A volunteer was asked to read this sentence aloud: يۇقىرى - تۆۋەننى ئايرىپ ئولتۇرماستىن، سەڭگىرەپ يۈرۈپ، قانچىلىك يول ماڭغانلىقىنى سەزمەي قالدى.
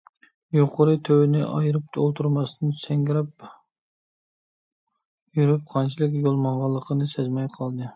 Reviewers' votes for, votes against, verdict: 0, 2, rejected